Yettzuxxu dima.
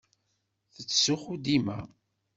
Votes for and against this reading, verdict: 2, 0, accepted